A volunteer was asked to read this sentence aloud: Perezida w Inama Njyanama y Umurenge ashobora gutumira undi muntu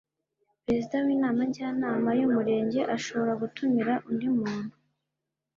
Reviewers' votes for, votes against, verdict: 2, 0, accepted